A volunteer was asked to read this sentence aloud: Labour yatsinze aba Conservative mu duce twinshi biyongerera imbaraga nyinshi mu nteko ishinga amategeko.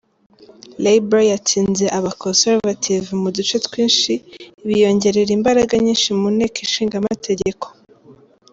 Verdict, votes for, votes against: accepted, 2, 0